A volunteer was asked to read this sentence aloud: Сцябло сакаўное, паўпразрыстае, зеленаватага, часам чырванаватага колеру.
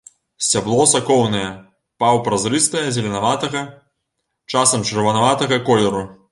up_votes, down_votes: 1, 2